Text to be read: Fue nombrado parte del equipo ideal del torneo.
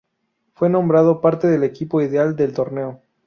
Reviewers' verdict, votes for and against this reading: accepted, 4, 0